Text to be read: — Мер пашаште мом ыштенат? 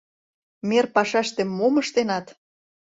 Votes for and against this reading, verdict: 2, 0, accepted